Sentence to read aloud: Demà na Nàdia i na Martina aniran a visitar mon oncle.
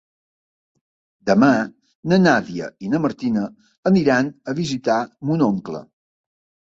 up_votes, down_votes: 2, 0